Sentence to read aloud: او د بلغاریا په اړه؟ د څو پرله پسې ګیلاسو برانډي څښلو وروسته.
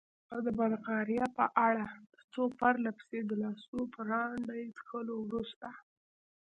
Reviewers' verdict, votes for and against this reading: accepted, 2, 0